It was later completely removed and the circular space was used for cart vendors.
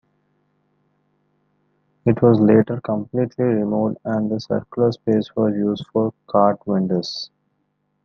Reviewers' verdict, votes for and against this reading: accepted, 2, 0